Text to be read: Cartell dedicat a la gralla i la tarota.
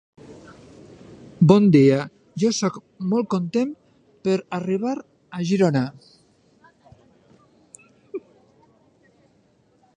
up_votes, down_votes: 0, 2